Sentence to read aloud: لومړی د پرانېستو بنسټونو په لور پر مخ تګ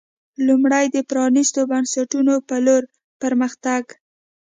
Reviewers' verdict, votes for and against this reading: accepted, 2, 0